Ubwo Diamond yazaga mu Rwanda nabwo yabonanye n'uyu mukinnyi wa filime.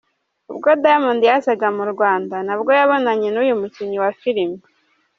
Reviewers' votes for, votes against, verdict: 2, 0, accepted